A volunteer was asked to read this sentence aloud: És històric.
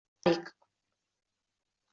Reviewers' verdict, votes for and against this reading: rejected, 0, 2